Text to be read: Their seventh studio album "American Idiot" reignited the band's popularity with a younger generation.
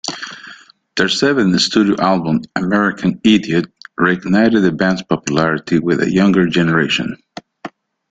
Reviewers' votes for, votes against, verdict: 2, 0, accepted